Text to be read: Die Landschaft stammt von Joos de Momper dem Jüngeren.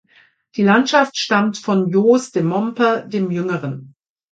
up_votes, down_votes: 3, 0